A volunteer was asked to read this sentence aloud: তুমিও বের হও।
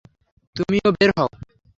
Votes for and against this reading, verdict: 0, 3, rejected